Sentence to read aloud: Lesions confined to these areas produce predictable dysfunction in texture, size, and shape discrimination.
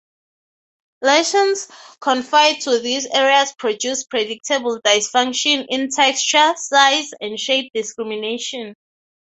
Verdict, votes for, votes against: accepted, 6, 0